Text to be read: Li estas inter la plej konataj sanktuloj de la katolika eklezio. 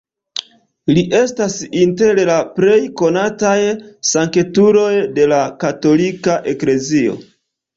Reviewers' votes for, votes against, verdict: 2, 0, accepted